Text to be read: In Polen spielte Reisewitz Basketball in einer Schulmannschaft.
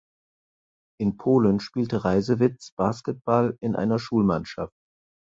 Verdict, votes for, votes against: accepted, 4, 0